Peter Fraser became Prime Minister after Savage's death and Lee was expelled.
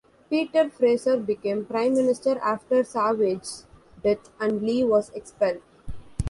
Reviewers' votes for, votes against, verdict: 0, 2, rejected